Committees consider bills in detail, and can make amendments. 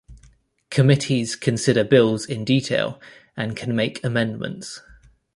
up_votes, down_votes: 2, 0